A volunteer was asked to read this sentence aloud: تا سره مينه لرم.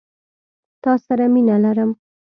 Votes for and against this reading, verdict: 2, 0, accepted